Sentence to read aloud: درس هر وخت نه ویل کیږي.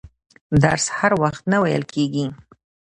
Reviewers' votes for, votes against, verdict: 1, 2, rejected